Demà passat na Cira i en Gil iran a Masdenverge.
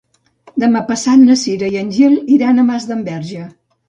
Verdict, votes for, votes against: accepted, 2, 0